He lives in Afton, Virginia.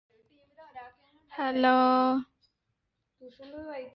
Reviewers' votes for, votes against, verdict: 0, 2, rejected